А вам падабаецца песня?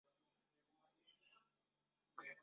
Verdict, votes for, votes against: rejected, 0, 2